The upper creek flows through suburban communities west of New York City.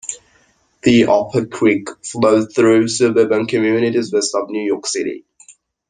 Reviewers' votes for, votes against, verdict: 1, 2, rejected